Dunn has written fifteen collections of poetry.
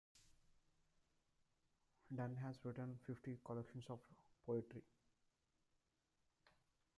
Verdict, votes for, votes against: accepted, 2, 0